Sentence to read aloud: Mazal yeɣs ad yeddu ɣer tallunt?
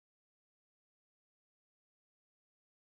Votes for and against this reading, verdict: 0, 2, rejected